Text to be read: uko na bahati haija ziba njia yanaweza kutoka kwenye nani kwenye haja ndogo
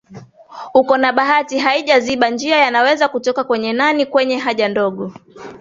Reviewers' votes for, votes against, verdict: 2, 0, accepted